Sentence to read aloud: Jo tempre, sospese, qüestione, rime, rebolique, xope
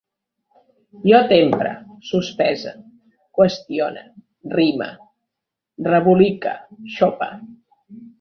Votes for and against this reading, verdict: 1, 2, rejected